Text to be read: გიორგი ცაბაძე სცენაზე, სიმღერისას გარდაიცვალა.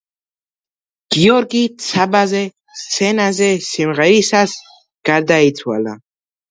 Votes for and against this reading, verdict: 2, 0, accepted